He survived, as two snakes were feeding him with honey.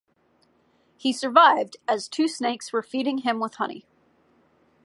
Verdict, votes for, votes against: accepted, 2, 0